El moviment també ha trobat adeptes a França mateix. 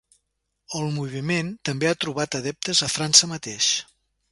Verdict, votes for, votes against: accepted, 2, 0